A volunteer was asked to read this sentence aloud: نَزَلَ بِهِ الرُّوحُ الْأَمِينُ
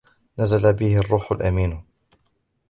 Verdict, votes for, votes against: accepted, 2, 0